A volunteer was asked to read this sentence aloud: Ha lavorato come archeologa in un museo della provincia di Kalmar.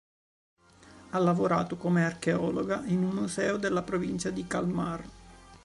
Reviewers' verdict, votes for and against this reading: rejected, 0, 2